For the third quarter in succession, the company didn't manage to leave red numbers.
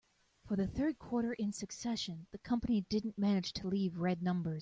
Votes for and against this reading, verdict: 0, 2, rejected